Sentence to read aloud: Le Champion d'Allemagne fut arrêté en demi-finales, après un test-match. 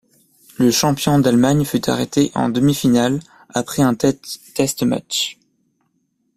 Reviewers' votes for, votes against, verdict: 1, 4, rejected